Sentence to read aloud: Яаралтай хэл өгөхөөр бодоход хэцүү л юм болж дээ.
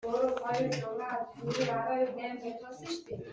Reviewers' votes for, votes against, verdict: 0, 2, rejected